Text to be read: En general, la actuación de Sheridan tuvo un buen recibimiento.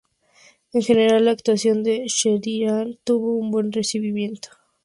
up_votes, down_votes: 0, 2